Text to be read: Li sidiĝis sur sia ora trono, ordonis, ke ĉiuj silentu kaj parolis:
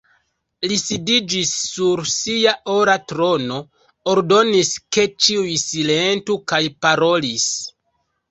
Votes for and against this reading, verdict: 1, 2, rejected